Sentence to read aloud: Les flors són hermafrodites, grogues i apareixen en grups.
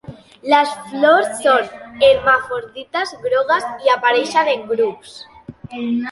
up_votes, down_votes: 0, 2